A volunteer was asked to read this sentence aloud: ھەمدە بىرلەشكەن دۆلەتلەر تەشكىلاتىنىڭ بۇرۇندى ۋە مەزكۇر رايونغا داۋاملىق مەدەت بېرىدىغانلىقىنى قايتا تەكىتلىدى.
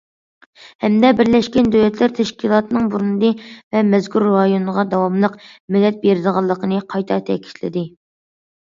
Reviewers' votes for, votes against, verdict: 2, 0, accepted